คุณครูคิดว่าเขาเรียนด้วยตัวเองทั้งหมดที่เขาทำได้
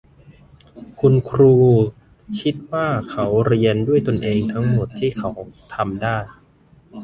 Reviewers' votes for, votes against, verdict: 0, 2, rejected